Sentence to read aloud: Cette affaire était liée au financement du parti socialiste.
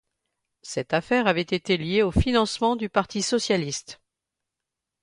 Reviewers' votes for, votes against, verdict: 1, 2, rejected